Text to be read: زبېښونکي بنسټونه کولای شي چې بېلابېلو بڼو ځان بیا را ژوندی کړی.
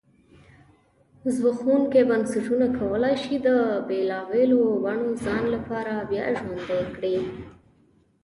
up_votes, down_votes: 1, 2